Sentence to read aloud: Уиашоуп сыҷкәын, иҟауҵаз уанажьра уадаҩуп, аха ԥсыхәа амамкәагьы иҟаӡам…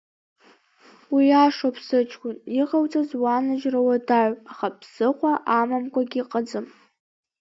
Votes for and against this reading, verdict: 2, 0, accepted